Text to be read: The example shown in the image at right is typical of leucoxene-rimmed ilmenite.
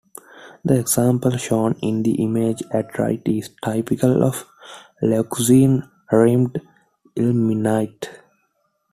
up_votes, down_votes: 1, 2